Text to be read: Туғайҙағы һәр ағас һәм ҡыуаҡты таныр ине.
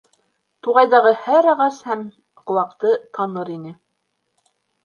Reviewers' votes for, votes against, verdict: 3, 0, accepted